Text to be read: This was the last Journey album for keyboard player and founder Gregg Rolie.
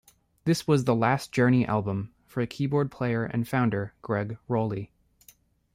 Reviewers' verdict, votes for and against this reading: accepted, 2, 0